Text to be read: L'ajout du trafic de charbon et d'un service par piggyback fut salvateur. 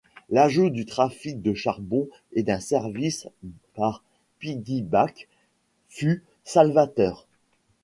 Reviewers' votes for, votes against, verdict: 1, 2, rejected